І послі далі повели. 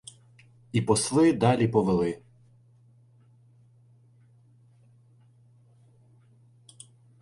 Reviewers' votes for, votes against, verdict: 0, 2, rejected